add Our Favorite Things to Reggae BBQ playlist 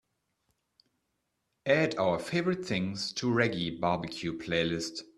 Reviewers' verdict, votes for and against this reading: accepted, 2, 0